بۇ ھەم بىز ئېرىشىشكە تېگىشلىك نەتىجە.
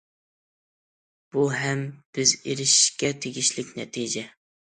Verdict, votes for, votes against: accepted, 2, 0